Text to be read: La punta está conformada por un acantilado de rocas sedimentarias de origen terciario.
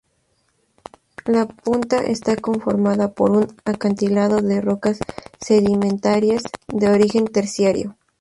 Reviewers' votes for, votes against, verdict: 0, 2, rejected